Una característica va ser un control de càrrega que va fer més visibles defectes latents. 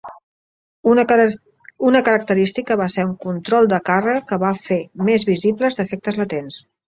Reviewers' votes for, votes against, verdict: 1, 3, rejected